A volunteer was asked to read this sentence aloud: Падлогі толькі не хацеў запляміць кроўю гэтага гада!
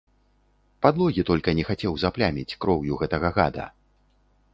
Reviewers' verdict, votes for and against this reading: rejected, 1, 2